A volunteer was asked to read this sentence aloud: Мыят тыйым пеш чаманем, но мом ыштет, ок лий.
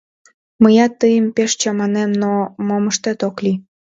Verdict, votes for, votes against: accepted, 3, 0